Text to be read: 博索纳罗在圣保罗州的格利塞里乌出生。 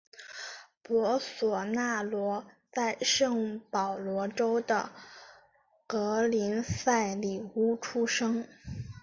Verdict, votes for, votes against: accepted, 6, 1